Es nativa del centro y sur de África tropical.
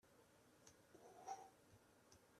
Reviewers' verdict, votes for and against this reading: rejected, 0, 2